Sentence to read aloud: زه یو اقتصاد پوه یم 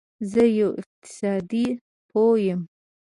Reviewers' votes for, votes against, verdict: 0, 2, rejected